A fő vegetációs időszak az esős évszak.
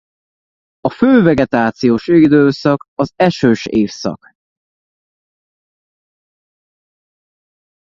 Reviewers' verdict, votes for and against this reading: rejected, 0, 2